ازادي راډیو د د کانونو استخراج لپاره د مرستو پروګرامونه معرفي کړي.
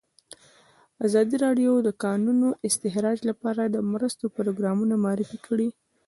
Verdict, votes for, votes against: rejected, 0, 2